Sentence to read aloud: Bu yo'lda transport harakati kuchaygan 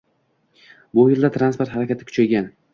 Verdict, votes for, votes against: rejected, 1, 3